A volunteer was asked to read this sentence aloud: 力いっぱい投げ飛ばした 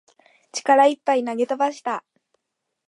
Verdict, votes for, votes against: accepted, 2, 0